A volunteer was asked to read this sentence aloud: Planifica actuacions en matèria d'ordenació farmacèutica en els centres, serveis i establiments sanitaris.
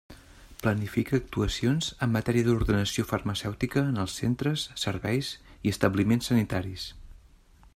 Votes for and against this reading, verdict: 3, 0, accepted